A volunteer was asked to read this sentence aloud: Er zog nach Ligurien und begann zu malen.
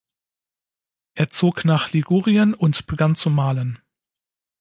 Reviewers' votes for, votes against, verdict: 2, 0, accepted